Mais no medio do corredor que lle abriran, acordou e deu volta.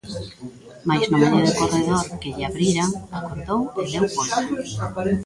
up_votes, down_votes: 0, 2